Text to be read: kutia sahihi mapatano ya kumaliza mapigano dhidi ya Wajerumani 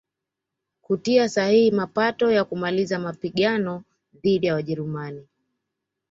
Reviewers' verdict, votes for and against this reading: rejected, 1, 2